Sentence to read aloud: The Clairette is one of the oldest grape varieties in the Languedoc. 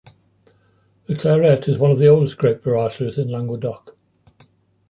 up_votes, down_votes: 0, 2